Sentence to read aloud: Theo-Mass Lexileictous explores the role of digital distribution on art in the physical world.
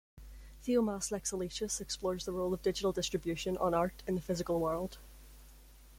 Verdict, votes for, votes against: accepted, 2, 1